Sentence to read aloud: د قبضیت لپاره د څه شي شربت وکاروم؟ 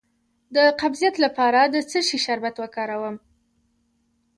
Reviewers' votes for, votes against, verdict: 0, 2, rejected